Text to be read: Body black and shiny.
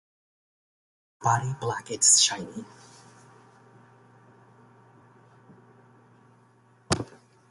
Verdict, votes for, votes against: rejected, 0, 2